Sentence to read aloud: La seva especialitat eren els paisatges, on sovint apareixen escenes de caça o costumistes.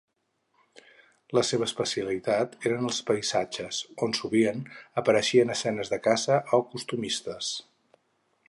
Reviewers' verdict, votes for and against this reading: accepted, 4, 0